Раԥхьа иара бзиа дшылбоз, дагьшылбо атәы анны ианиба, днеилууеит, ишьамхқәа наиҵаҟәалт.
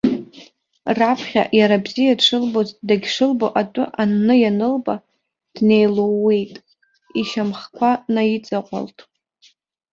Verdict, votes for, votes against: rejected, 0, 2